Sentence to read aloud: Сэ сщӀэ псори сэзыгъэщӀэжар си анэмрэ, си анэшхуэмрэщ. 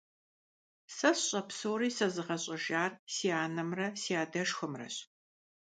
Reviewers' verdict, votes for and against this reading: rejected, 0, 2